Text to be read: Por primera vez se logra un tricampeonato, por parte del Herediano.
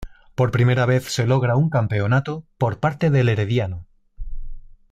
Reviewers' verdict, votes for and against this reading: rejected, 0, 2